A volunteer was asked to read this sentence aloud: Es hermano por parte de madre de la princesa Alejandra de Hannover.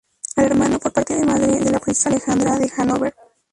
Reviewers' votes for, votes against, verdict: 0, 2, rejected